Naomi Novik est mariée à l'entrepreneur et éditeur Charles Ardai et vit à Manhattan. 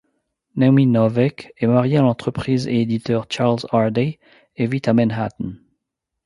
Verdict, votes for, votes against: rejected, 1, 2